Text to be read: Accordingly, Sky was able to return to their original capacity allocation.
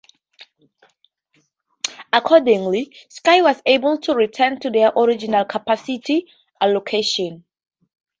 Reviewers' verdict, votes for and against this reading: accepted, 2, 0